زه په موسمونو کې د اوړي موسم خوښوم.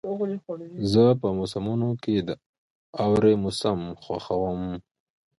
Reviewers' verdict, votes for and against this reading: accepted, 2, 1